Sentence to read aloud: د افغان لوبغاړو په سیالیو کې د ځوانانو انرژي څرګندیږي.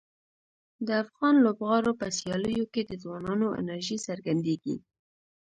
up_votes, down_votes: 1, 2